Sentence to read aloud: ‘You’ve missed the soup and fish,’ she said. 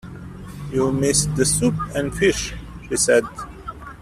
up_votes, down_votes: 2, 0